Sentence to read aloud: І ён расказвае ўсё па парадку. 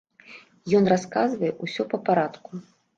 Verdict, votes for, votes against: rejected, 1, 2